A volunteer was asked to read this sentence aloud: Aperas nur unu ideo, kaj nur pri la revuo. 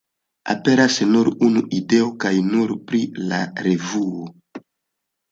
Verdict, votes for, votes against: accepted, 2, 0